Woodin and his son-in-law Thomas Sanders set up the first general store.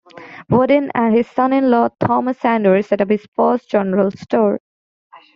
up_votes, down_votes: 1, 2